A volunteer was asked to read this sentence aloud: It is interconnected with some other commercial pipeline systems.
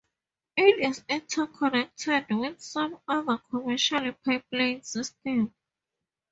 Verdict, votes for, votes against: rejected, 0, 2